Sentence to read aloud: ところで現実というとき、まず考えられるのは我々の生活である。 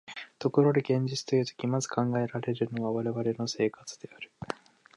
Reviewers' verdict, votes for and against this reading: accepted, 2, 0